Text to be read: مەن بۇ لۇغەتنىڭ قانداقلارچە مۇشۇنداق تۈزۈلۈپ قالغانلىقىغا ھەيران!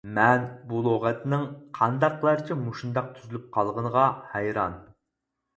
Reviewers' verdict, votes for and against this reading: rejected, 0, 4